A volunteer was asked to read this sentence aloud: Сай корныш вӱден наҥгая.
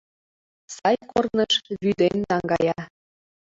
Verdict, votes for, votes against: rejected, 0, 2